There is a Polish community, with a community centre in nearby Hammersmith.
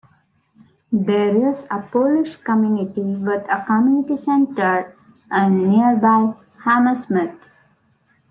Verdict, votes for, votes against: accepted, 2, 0